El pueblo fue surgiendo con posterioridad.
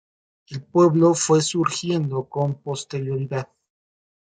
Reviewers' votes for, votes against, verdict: 2, 0, accepted